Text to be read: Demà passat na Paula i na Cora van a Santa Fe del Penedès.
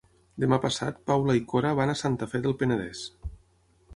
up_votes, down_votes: 0, 6